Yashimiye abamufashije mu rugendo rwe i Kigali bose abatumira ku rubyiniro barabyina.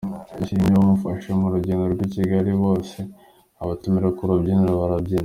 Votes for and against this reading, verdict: 1, 2, rejected